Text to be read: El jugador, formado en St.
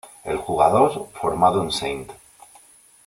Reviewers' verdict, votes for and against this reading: rejected, 1, 2